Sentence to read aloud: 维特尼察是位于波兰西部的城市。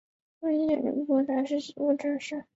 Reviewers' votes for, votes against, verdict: 0, 3, rejected